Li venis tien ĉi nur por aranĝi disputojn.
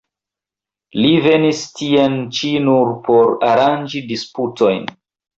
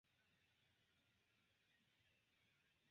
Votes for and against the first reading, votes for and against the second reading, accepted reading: 2, 1, 1, 3, first